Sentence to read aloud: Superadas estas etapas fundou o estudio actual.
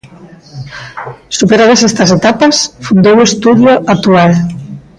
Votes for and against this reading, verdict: 0, 2, rejected